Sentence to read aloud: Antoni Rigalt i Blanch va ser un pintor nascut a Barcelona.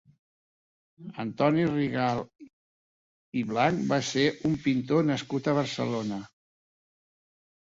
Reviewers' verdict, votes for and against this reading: accepted, 4, 0